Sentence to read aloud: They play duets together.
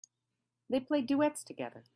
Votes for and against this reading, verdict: 2, 0, accepted